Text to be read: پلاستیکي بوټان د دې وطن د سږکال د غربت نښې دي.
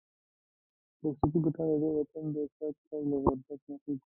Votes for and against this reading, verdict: 1, 2, rejected